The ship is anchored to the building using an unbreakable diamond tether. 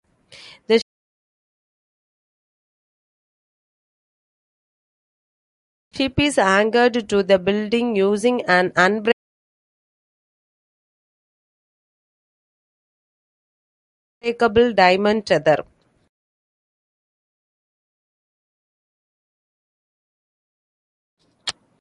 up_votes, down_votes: 0, 2